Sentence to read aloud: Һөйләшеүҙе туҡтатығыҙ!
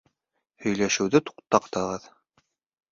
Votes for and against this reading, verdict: 1, 2, rejected